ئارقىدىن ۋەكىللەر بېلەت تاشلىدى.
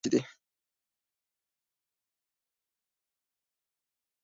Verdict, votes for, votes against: rejected, 0, 2